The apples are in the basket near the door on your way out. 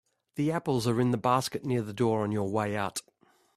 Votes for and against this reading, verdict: 3, 0, accepted